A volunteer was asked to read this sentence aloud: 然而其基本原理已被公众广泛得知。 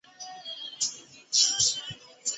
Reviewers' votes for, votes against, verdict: 0, 2, rejected